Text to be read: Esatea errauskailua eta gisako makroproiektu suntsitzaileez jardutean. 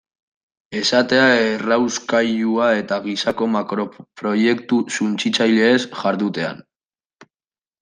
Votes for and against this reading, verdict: 0, 2, rejected